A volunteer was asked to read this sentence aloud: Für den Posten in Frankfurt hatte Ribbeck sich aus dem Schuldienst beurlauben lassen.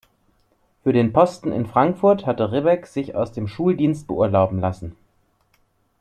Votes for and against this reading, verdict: 2, 0, accepted